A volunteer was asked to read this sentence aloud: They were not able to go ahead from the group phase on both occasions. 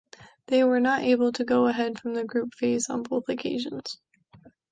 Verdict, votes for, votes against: accepted, 2, 0